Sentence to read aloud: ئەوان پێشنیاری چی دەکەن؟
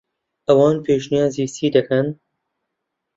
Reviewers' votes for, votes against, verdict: 0, 2, rejected